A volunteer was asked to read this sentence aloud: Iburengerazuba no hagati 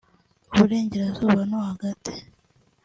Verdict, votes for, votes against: accepted, 2, 0